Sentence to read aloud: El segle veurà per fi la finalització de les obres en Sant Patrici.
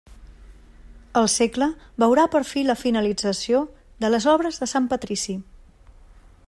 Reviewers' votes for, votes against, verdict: 1, 2, rejected